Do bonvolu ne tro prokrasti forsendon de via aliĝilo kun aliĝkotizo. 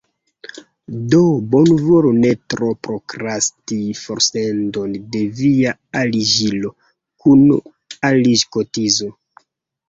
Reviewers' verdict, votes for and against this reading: accepted, 2, 1